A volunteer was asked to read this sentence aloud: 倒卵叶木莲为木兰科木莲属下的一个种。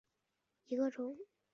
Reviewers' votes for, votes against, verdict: 0, 2, rejected